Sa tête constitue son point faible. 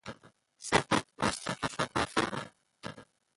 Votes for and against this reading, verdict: 0, 2, rejected